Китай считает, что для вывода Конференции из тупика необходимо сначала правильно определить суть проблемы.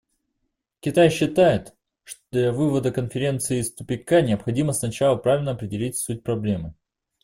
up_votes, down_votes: 2, 0